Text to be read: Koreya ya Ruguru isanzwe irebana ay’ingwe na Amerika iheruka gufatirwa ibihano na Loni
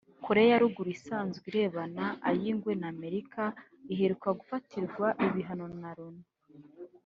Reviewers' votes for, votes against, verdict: 1, 2, rejected